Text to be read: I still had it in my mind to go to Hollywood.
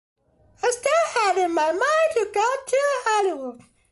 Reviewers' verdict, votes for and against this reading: accepted, 2, 0